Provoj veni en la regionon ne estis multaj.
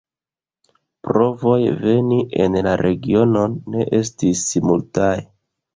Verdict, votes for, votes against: rejected, 1, 2